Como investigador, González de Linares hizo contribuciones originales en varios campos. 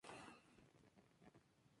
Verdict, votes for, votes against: rejected, 0, 2